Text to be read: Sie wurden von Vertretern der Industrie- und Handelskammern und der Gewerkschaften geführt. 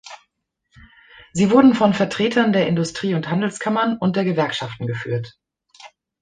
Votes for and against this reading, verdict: 2, 0, accepted